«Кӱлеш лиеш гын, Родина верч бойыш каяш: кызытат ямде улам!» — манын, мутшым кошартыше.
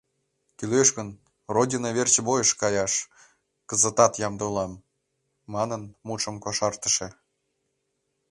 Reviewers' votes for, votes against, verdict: 2, 1, accepted